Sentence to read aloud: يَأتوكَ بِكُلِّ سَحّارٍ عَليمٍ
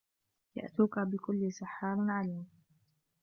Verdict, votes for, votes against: accepted, 2, 0